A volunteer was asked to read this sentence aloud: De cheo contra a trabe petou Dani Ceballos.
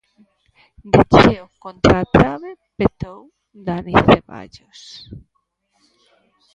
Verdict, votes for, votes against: rejected, 1, 2